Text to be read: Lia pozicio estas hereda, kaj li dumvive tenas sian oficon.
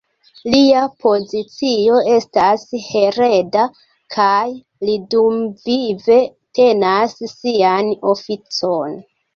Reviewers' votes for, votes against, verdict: 2, 0, accepted